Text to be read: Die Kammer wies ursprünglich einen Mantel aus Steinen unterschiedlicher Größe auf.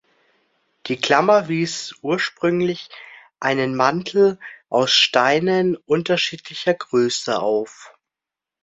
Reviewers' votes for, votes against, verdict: 1, 2, rejected